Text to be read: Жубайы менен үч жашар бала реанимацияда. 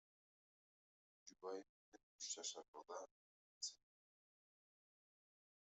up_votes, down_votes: 0, 2